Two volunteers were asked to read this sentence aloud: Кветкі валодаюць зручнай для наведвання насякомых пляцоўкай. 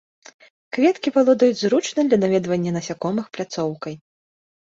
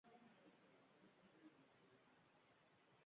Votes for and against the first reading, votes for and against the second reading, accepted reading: 2, 0, 0, 2, first